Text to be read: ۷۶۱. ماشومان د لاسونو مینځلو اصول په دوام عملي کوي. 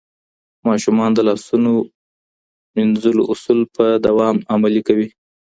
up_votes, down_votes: 0, 2